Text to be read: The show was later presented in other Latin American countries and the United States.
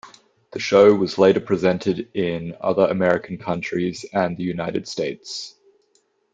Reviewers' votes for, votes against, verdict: 0, 2, rejected